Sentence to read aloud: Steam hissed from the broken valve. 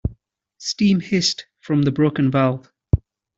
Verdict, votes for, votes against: accepted, 2, 0